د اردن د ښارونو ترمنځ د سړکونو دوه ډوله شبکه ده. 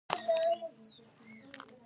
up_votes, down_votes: 1, 2